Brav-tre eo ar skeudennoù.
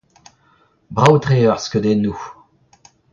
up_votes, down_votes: 2, 0